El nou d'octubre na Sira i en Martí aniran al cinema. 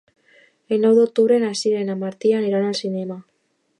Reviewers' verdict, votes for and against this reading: accepted, 2, 0